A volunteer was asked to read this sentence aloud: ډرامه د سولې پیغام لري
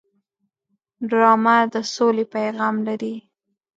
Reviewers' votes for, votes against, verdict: 2, 0, accepted